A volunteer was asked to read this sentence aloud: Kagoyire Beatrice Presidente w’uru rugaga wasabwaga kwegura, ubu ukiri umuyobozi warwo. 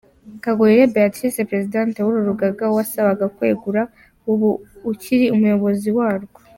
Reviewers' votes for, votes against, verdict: 2, 0, accepted